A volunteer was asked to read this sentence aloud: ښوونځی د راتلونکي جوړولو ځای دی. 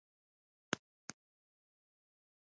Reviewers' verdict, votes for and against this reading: rejected, 0, 2